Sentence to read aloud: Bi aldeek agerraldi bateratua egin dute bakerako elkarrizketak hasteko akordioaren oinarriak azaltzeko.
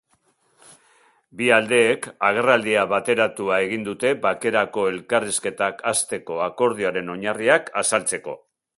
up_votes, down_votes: 1, 2